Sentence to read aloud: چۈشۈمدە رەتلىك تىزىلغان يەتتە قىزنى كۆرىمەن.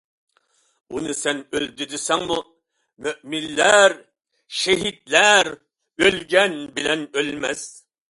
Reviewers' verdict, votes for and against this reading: rejected, 0, 2